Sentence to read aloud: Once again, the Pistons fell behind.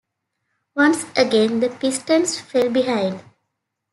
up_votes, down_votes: 2, 0